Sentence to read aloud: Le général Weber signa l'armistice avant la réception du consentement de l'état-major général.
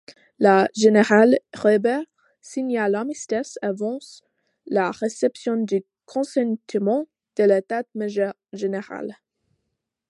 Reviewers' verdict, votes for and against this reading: rejected, 0, 2